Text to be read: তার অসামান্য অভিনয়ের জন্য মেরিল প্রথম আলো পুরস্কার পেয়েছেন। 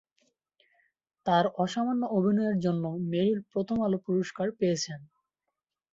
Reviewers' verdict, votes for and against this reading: accepted, 3, 1